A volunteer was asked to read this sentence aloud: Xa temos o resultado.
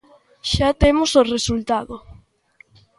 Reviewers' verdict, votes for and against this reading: accepted, 2, 0